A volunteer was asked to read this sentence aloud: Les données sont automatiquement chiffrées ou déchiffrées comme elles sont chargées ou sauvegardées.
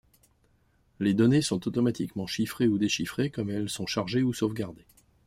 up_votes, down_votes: 2, 0